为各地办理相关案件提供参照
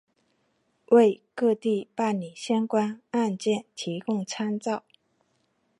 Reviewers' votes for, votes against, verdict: 2, 0, accepted